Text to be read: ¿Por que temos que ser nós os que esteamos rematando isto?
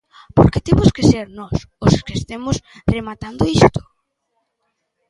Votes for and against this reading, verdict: 0, 2, rejected